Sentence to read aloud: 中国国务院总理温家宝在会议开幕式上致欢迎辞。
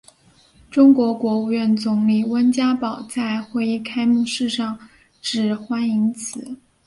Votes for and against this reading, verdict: 2, 0, accepted